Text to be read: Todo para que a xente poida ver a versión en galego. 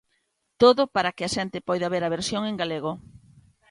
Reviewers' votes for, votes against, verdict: 2, 0, accepted